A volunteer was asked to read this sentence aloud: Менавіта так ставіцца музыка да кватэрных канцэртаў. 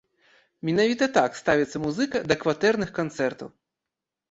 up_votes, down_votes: 2, 0